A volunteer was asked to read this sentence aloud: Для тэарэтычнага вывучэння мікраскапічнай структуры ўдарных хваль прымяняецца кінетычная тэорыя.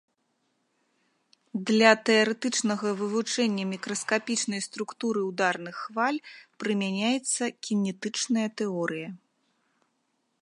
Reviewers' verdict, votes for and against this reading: accepted, 3, 0